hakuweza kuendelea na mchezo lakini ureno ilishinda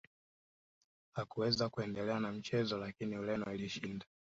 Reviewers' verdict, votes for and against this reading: accepted, 2, 0